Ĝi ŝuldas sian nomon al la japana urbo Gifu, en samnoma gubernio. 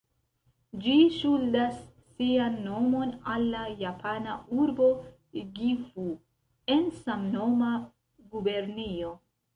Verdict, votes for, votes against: rejected, 1, 2